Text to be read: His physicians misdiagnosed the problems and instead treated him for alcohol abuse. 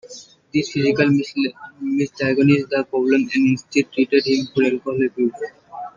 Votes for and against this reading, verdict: 0, 2, rejected